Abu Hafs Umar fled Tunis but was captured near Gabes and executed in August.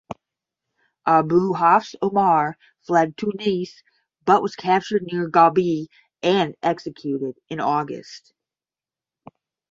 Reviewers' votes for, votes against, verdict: 10, 0, accepted